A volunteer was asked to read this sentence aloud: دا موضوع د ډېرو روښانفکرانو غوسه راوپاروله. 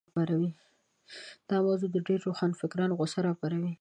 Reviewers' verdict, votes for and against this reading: rejected, 1, 2